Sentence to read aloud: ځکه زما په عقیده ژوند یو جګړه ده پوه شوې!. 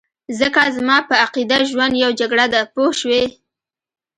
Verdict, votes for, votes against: accepted, 2, 0